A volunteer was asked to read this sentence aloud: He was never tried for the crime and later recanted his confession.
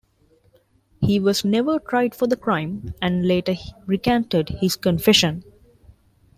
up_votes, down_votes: 1, 2